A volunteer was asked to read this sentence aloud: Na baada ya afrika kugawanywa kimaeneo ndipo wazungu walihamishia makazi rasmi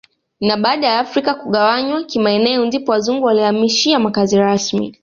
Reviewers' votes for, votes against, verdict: 2, 0, accepted